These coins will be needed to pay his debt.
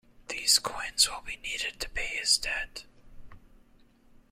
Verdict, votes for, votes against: accepted, 2, 0